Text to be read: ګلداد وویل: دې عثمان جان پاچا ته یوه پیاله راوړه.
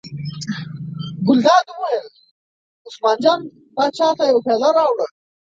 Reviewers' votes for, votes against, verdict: 1, 2, rejected